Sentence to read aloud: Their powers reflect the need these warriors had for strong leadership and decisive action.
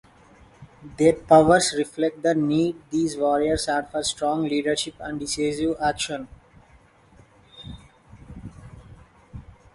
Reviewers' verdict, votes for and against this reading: accepted, 2, 0